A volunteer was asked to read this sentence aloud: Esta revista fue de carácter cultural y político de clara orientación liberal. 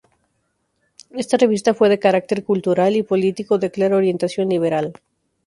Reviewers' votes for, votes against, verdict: 0, 2, rejected